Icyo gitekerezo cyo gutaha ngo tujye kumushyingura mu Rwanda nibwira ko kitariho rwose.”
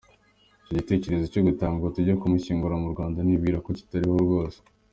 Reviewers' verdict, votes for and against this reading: accepted, 2, 0